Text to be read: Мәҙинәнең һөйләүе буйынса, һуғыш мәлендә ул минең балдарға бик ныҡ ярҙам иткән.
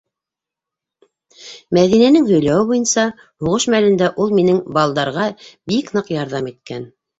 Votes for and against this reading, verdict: 2, 1, accepted